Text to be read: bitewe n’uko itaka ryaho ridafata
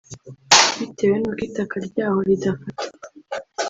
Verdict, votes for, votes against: rejected, 1, 2